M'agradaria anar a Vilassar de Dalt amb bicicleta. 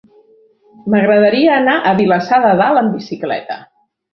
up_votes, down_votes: 1, 2